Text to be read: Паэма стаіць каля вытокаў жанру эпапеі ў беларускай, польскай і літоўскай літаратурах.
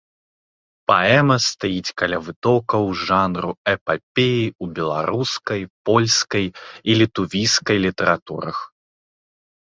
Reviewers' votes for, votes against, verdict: 0, 2, rejected